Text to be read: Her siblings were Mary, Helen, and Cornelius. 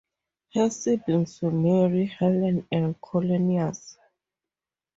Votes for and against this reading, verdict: 4, 2, accepted